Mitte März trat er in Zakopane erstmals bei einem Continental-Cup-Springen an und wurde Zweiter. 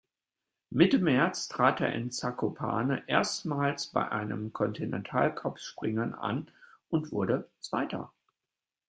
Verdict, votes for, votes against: accepted, 2, 0